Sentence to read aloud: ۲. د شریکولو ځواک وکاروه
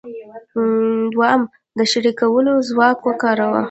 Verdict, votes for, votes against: rejected, 0, 2